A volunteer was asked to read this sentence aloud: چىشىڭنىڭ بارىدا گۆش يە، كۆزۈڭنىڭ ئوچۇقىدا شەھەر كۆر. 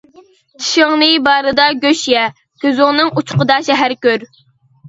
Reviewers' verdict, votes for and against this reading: rejected, 1, 2